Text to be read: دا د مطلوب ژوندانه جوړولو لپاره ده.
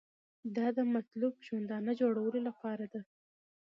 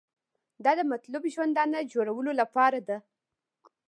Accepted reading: first